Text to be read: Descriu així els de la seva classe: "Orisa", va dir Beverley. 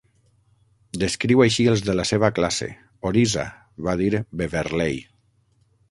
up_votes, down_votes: 3, 6